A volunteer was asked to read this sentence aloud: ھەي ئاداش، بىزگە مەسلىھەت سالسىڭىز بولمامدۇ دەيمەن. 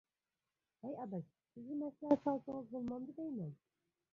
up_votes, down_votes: 1, 2